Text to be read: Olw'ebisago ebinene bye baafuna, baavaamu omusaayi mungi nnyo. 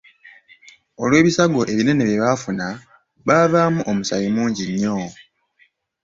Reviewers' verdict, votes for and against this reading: accepted, 3, 0